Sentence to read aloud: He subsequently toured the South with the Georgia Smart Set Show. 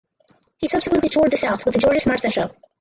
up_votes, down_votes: 2, 4